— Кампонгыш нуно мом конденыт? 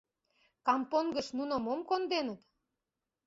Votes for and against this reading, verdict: 2, 0, accepted